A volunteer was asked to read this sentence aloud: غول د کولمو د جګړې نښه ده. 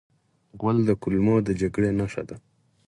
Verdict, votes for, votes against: rejected, 0, 4